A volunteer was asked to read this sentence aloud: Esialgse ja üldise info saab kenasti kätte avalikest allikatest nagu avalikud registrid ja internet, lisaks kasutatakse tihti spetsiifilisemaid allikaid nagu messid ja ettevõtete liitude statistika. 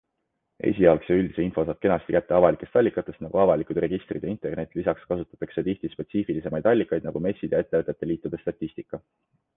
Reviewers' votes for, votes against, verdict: 2, 0, accepted